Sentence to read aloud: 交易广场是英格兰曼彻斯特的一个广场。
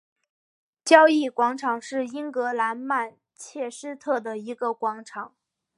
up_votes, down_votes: 2, 0